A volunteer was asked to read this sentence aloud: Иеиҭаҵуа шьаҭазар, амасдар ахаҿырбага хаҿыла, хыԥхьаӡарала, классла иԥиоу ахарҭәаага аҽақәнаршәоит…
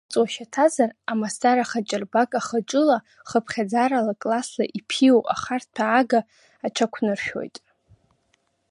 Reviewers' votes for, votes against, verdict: 3, 4, rejected